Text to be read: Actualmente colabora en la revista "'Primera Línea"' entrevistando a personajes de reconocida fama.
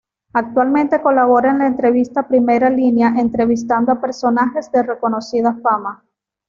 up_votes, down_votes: 1, 2